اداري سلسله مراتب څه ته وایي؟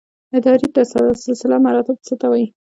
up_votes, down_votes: 1, 2